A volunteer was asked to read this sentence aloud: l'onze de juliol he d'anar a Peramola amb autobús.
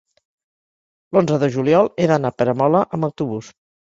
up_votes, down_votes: 3, 0